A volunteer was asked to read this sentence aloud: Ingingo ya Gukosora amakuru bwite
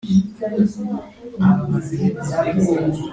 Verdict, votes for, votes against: rejected, 1, 2